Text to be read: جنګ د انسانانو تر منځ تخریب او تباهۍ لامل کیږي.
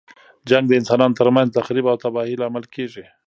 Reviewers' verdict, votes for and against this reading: accepted, 2, 1